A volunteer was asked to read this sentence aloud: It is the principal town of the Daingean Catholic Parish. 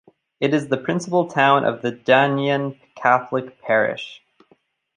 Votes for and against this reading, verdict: 2, 0, accepted